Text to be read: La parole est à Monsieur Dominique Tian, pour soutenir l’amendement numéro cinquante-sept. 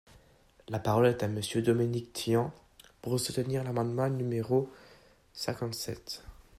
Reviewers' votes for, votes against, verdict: 1, 2, rejected